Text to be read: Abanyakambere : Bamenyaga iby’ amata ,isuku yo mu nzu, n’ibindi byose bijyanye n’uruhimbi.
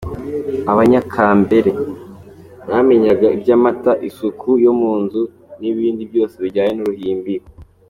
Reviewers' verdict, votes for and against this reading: accepted, 2, 0